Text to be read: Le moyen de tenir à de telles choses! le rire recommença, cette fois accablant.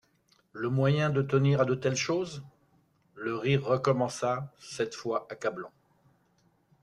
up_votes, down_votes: 2, 0